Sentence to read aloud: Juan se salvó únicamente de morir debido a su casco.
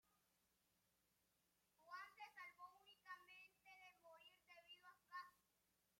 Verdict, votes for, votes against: rejected, 0, 2